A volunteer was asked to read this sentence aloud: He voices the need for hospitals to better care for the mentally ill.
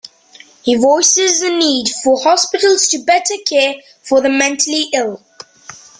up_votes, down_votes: 2, 0